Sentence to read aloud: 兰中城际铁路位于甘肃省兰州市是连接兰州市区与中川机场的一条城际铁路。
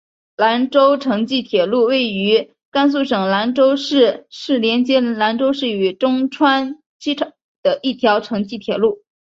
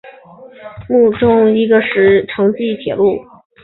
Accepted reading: first